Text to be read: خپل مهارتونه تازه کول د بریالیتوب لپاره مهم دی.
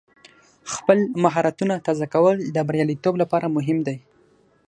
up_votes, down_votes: 18, 0